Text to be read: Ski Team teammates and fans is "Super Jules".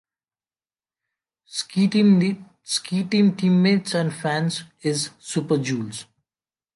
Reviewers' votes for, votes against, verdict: 0, 2, rejected